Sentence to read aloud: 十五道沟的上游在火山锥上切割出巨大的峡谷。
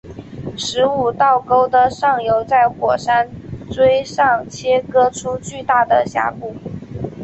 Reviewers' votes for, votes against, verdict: 2, 1, accepted